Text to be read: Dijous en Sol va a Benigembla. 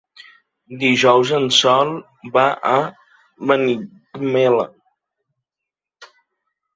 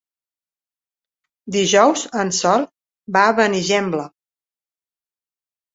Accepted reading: second